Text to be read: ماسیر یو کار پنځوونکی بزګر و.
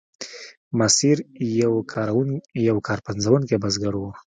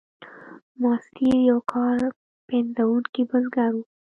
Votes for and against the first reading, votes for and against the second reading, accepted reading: 2, 0, 1, 2, first